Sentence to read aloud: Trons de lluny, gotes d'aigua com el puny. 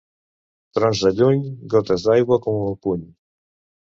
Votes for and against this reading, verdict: 2, 1, accepted